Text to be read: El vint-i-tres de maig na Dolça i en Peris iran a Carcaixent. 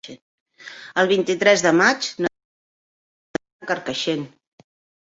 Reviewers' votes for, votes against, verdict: 0, 2, rejected